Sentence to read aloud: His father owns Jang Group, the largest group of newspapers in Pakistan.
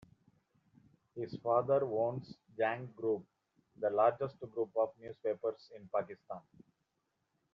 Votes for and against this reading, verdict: 3, 2, accepted